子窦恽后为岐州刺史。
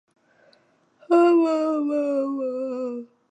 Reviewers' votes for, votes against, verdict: 0, 3, rejected